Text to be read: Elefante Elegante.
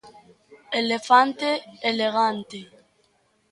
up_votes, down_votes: 0, 2